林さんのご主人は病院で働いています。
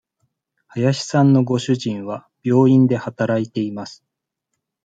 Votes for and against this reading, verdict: 2, 0, accepted